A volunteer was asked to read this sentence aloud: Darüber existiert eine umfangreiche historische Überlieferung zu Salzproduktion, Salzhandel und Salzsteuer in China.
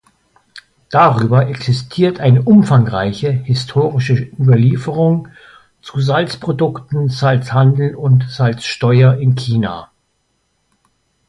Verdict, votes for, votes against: rejected, 0, 2